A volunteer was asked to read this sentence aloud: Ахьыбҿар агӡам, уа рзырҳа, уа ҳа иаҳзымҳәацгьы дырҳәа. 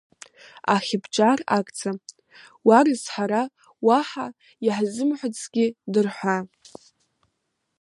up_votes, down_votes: 2, 1